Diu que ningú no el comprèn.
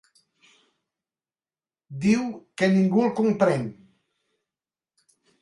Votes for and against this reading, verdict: 0, 3, rejected